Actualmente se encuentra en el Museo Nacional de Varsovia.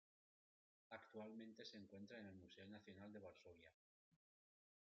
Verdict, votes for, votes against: accepted, 2, 0